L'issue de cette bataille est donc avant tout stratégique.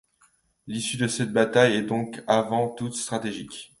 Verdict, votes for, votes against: rejected, 0, 2